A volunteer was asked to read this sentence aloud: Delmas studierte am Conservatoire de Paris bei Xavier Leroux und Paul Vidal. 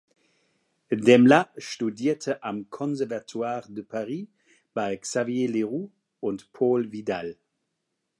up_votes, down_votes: 0, 2